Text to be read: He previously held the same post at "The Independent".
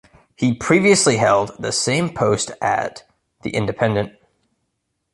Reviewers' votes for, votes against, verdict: 2, 0, accepted